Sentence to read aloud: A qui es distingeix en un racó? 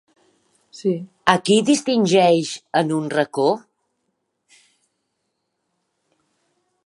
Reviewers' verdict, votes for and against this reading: rejected, 2, 4